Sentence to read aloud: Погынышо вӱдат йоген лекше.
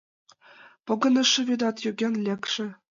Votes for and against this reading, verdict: 2, 0, accepted